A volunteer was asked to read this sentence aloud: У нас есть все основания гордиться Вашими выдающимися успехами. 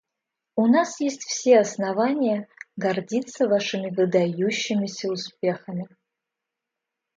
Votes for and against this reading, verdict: 2, 0, accepted